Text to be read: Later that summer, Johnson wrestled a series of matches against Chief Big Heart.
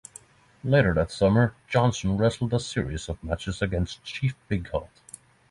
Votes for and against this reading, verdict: 3, 3, rejected